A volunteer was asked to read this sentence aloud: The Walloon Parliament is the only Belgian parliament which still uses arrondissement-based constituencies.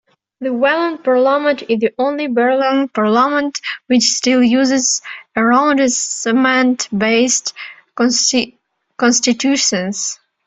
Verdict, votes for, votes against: rejected, 1, 2